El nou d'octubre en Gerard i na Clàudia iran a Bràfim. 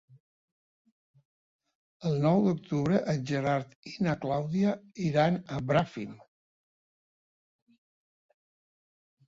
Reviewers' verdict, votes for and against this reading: accepted, 3, 0